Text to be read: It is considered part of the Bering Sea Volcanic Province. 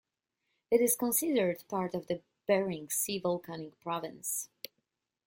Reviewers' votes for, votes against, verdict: 1, 2, rejected